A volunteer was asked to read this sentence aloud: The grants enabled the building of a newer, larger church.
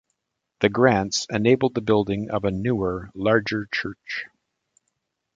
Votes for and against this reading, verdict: 1, 2, rejected